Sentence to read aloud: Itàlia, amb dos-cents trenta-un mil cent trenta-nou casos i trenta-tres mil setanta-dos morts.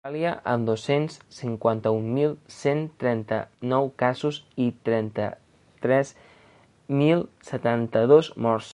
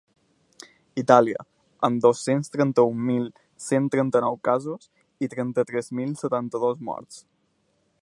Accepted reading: second